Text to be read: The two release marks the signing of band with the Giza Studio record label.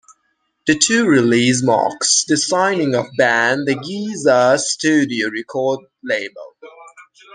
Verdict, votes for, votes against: rejected, 0, 2